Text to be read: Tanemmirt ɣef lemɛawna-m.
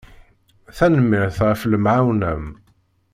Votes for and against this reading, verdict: 2, 0, accepted